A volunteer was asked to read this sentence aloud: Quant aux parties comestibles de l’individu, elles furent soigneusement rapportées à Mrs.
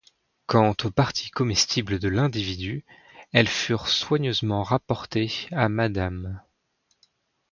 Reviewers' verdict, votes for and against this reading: rejected, 1, 2